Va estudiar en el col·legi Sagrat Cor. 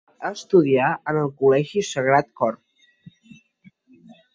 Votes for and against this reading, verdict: 0, 2, rejected